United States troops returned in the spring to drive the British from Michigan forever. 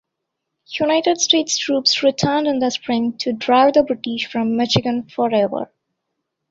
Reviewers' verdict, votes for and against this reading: accepted, 2, 0